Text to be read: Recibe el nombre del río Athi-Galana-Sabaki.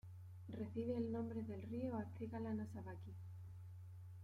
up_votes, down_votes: 1, 2